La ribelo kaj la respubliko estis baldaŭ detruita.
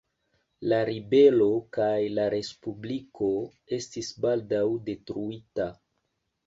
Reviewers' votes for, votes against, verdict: 2, 0, accepted